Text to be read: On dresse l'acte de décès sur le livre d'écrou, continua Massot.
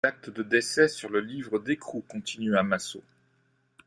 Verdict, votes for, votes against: rejected, 1, 2